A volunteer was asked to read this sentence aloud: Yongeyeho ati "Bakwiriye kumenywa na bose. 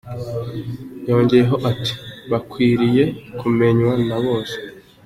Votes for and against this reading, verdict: 2, 0, accepted